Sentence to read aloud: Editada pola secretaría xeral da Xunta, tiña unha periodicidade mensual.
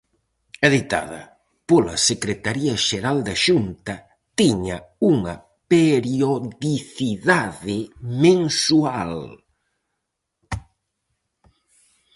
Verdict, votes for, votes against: rejected, 2, 2